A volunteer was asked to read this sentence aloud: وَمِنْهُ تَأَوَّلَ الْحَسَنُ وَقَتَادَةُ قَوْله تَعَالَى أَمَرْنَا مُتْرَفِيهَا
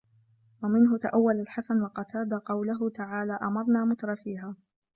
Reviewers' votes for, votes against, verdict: 2, 0, accepted